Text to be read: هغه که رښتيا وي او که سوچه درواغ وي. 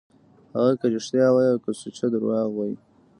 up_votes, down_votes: 2, 0